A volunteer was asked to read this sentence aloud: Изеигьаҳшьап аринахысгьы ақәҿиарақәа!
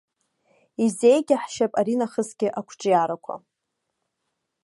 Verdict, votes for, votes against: accepted, 2, 0